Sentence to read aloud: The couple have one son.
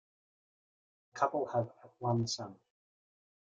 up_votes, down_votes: 1, 2